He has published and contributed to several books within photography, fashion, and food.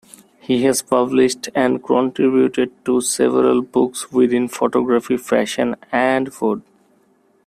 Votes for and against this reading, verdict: 2, 0, accepted